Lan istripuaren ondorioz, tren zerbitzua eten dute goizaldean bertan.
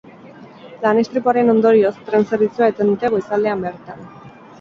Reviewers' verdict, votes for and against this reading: accepted, 8, 0